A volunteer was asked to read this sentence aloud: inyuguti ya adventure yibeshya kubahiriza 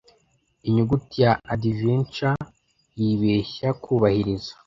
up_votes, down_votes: 2, 0